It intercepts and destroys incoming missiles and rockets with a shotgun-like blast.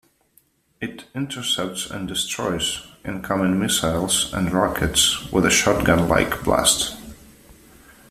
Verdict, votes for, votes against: accepted, 2, 0